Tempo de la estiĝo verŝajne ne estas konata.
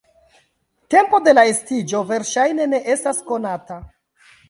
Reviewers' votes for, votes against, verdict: 3, 1, accepted